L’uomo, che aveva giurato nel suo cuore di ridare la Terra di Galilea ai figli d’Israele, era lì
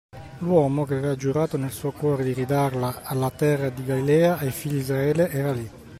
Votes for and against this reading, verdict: 0, 2, rejected